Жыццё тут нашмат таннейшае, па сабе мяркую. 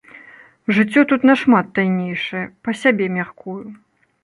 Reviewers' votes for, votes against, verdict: 0, 2, rejected